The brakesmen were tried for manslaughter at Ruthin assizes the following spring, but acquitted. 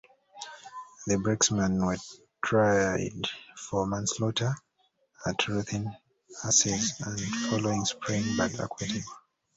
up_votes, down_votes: 1, 2